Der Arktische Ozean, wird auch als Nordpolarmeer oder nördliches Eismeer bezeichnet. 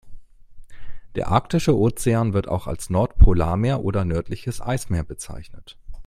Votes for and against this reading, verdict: 2, 0, accepted